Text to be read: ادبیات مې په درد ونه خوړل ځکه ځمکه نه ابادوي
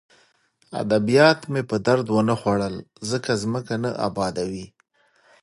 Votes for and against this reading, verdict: 2, 0, accepted